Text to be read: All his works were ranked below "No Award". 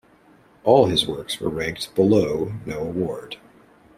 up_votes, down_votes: 2, 1